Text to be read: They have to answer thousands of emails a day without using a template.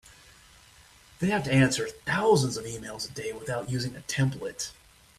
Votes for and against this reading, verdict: 2, 0, accepted